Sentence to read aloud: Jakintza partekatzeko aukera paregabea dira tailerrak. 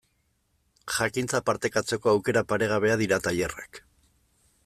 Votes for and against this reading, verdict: 2, 0, accepted